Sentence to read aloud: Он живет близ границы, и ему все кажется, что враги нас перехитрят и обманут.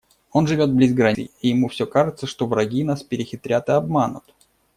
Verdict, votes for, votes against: rejected, 0, 2